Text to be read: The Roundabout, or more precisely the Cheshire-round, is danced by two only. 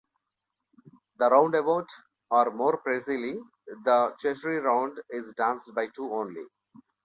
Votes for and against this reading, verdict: 1, 2, rejected